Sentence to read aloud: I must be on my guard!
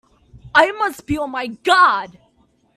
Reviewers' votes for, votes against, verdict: 2, 0, accepted